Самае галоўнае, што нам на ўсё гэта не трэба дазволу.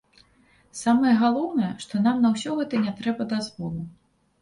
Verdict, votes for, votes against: accepted, 2, 0